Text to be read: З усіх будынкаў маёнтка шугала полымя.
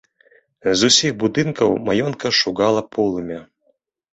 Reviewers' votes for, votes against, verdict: 0, 2, rejected